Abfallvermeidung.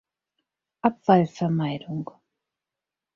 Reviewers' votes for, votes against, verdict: 4, 0, accepted